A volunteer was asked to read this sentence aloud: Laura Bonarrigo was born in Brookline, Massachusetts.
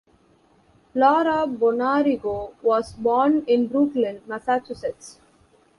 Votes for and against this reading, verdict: 1, 2, rejected